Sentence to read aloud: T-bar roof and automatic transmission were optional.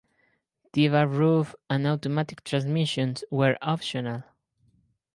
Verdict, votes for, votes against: rejected, 0, 4